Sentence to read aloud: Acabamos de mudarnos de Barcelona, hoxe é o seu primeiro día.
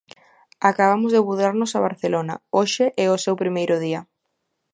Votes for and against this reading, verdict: 0, 2, rejected